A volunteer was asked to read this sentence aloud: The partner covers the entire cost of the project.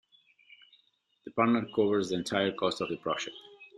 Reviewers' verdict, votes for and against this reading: accepted, 2, 1